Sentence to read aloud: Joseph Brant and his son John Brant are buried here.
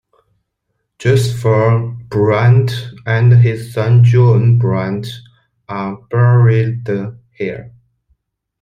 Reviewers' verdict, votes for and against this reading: rejected, 0, 2